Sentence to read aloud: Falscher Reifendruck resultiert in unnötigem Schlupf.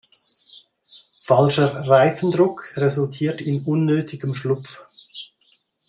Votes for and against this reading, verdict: 2, 0, accepted